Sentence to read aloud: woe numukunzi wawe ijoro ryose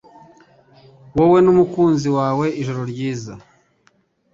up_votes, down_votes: 1, 2